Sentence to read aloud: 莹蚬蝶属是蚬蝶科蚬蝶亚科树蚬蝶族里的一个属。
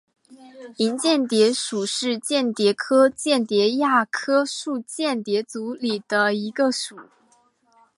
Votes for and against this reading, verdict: 1, 2, rejected